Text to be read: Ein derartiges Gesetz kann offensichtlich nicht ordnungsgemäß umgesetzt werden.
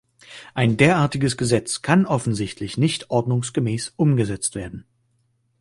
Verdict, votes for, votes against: accepted, 2, 0